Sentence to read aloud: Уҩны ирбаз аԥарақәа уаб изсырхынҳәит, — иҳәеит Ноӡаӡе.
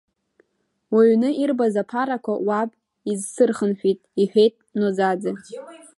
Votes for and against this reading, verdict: 2, 0, accepted